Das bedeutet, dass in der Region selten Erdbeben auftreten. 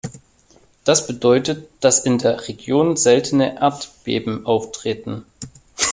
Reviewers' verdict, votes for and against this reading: rejected, 0, 2